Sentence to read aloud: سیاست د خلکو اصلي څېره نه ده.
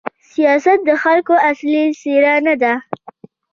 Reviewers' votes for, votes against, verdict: 2, 0, accepted